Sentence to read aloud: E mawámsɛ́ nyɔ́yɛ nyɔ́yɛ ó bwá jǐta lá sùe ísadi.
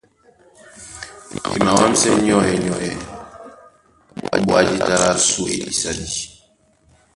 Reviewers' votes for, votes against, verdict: 1, 2, rejected